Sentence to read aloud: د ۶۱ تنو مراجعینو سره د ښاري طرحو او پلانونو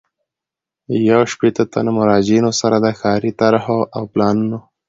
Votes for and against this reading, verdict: 0, 2, rejected